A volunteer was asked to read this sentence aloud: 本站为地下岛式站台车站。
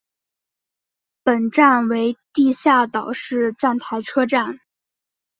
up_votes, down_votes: 3, 0